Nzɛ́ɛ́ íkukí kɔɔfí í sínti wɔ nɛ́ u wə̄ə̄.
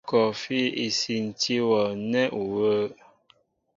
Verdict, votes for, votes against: rejected, 0, 2